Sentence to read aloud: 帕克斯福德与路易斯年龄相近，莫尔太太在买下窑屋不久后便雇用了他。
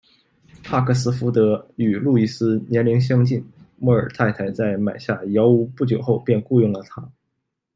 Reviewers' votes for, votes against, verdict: 2, 0, accepted